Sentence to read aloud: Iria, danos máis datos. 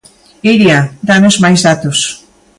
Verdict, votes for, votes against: accepted, 2, 0